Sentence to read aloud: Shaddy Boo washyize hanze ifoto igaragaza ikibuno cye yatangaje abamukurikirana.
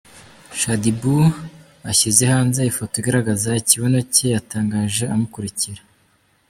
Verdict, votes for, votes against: rejected, 0, 2